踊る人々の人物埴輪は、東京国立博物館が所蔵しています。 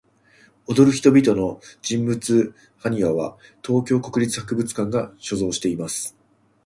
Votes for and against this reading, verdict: 2, 0, accepted